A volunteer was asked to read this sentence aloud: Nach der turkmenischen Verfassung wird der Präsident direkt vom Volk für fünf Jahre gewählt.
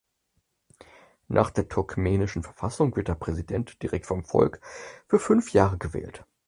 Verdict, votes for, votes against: accepted, 4, 2